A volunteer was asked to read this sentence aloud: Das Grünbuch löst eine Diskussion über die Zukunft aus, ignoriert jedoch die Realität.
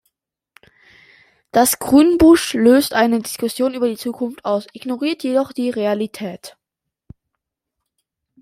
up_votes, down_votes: 1, 2